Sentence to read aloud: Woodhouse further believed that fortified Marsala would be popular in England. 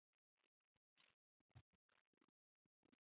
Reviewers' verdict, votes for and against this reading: rejected, 0, 2